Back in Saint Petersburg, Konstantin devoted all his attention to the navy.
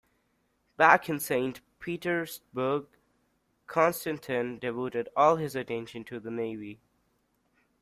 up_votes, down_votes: 2, 0